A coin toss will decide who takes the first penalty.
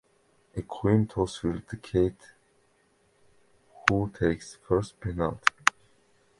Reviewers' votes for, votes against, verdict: 2, 1, accepted